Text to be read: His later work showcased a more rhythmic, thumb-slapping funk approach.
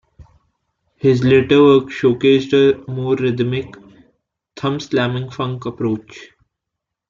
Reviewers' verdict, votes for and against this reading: rejected, 1, 2